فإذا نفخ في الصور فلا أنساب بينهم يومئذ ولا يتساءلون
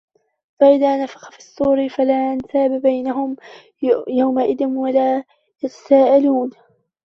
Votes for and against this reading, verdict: 0, 2, rejected